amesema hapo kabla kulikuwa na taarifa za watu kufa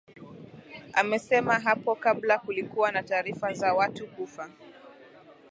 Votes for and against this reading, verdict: 2, 1, accepted